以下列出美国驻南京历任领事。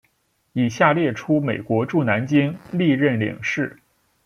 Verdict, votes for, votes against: accepted, 2, 0